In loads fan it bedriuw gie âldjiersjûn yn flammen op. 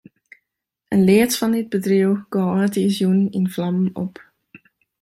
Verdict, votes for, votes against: rejected, 0, 2